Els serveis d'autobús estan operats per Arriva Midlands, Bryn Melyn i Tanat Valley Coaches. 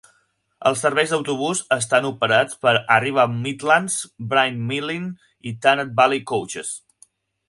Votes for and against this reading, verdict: 4, 2, accepted